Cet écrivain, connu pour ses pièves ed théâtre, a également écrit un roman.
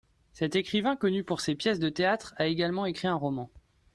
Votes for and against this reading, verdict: 1, 2, rejected